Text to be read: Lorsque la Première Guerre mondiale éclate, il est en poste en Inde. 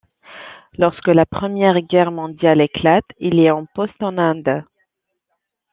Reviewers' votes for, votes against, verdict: 2, 0, accepted